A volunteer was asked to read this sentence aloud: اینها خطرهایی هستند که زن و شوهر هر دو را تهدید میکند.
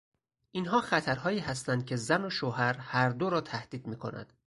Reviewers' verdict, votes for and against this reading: accepted, 4, 0